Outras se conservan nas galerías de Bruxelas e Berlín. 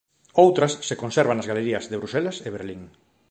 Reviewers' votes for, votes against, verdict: 2, 0, accepted